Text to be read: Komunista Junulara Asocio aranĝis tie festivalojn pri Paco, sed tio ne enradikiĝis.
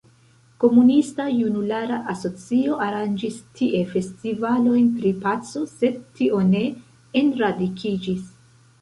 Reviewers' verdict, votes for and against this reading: rejected, 1, 2